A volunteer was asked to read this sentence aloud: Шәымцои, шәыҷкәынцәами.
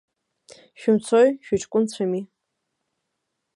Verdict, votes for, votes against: accepted, 2, 0